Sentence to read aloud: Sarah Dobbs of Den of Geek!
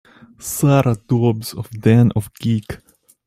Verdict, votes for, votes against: rejected, 0, 2